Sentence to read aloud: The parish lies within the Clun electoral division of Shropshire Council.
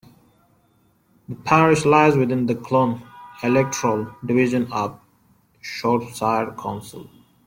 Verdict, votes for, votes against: rejected, 0, 2